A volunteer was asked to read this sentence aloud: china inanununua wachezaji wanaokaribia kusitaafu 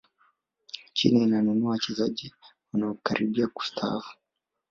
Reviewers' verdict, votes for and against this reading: rejected, 1, 2